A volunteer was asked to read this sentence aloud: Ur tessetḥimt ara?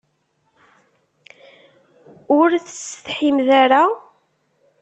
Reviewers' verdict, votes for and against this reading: rejected, 0, 2